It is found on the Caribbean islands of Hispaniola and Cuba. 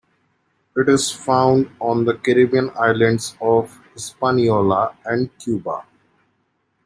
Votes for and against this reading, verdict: 2, 1, accepted